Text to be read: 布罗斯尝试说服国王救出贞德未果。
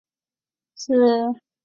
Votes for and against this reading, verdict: 0, 2, rejected